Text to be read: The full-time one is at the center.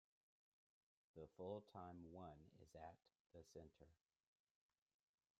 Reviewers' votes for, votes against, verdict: 0, 2, rejected